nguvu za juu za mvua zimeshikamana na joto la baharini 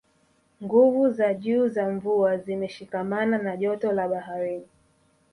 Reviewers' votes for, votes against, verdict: 1, 2, rejected